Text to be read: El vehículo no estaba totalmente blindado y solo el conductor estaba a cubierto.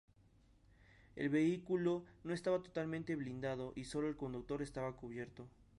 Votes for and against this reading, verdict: 2, 0, accepted